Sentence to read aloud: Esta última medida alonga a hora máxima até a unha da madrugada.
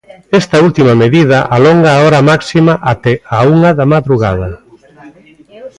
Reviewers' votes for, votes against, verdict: 0, 2, rejected